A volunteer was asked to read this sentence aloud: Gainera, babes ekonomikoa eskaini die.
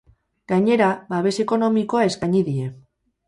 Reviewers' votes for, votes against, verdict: 4, 0, accepted